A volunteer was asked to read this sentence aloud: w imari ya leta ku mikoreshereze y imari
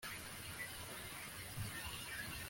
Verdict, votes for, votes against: rejected, 1, 2